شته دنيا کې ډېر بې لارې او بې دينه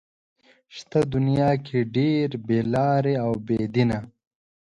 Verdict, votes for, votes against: accepted, 2, 0